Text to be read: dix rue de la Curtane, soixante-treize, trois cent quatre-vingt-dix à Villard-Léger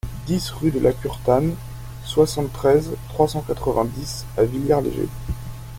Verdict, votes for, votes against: rejected, 0, 2